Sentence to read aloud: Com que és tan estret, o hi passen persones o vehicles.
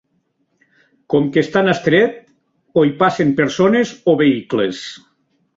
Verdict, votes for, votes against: accepted, 2, 0